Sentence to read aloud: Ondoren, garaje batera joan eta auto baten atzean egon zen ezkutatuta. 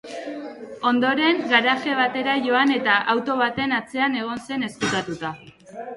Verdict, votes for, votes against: accepted, 3, 2